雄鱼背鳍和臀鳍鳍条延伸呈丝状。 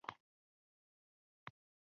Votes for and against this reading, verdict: 0, 2, rejected